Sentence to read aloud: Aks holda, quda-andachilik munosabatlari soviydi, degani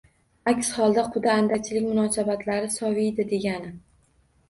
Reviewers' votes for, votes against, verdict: 2, 0, accepted